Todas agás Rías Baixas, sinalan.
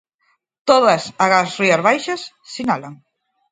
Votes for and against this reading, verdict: 4, 0, accepted